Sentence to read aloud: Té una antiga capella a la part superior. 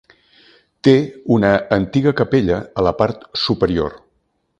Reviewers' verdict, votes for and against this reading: accepted, 2, 0